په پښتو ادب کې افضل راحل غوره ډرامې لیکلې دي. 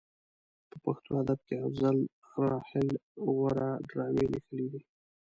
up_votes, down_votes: 3, 0